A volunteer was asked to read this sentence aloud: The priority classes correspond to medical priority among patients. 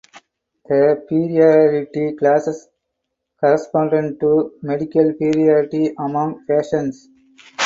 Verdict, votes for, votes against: rejected, 0, 4